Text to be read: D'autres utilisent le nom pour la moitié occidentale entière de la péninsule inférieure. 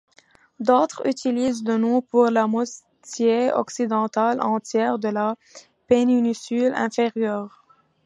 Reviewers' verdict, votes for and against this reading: rejected, 1, 2